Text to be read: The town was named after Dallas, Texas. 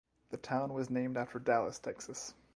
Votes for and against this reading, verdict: 2, 0, accepted